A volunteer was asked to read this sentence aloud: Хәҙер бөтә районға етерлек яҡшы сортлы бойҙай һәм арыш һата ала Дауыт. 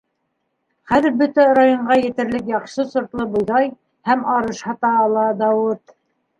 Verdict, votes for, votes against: accepted, 2, 1